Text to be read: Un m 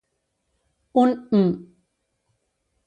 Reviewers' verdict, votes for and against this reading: rejected, 0, 2